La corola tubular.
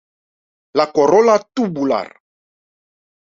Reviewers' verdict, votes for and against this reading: accepted, 2, 0